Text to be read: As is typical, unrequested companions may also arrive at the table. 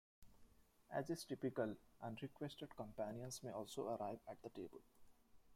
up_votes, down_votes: 2, 1